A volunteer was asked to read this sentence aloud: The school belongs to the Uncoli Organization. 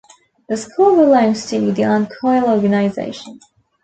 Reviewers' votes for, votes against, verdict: 1, 2, rejected